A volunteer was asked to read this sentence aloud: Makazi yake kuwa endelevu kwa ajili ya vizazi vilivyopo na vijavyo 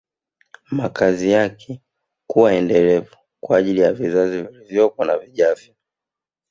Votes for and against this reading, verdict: 0, 2, rejected